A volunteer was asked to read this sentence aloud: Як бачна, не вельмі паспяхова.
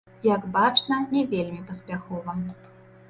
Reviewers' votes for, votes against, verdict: 2, 0, accepted